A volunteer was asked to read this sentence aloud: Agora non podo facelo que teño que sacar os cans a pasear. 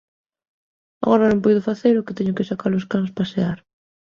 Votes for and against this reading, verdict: 0, 2, rejected